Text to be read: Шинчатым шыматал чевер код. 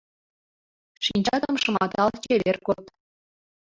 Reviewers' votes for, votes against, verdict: 0, 2, rejected